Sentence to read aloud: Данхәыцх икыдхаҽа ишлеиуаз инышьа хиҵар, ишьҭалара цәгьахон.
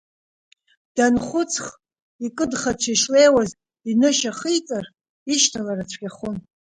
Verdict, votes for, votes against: accepted, 4, 0